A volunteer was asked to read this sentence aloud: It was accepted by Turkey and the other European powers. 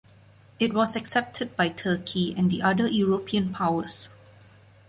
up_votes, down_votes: 2, 0